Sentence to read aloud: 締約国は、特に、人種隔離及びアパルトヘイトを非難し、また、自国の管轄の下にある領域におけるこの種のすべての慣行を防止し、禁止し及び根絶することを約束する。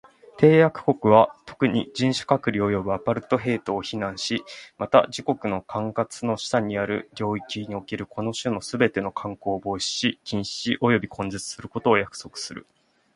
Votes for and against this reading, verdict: 4, 0, accepted